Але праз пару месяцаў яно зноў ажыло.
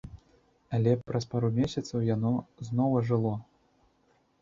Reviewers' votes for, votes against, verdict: 2, 0, accepted